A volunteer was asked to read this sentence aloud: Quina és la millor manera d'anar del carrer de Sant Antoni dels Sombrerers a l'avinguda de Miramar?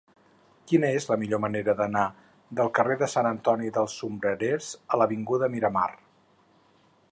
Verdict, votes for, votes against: rejected, 2, 4